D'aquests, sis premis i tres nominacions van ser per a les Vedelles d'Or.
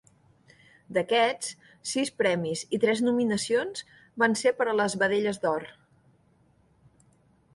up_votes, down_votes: 3, 0